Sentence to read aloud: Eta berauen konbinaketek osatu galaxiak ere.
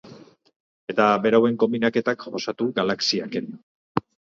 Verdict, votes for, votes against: rejected, 1, 2